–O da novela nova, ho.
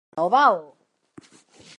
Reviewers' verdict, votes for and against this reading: rejected, 0, 4